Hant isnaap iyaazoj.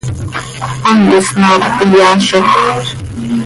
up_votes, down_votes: 1, 2